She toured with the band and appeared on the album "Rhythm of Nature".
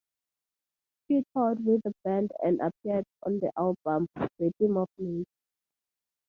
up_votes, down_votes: 2, 2